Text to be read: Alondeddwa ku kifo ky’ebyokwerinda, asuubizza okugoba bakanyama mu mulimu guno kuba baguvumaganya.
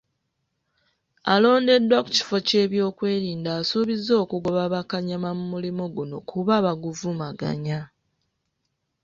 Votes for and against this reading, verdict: 1, 2, rejected